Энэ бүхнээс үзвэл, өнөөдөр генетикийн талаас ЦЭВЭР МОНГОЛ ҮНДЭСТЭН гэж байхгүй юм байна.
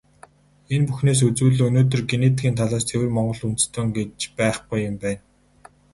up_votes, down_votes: 4, 0